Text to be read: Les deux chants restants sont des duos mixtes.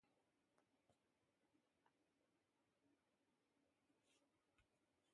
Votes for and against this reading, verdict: 0, 2, rejected